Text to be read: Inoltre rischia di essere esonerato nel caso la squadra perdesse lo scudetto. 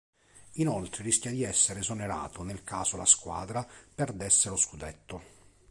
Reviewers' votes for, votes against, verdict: 2, 0, accepted